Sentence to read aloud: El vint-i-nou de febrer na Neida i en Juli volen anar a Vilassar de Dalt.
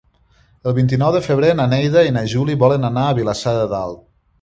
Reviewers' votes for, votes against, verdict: 1, 2, rejected